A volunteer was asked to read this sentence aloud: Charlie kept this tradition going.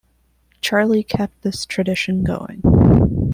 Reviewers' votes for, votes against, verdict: 2, 0, accepted